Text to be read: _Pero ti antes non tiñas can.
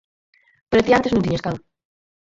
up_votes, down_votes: 2, 4